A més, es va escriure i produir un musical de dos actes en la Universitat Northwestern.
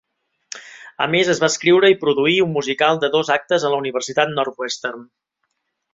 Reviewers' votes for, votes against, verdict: 2, 0, accepted